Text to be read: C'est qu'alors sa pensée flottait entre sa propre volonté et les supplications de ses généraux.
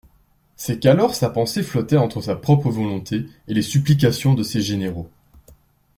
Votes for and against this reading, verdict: 2, 0, accepted